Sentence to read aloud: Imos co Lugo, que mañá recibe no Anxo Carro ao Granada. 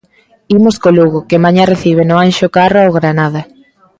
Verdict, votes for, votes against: accepted, 2, 0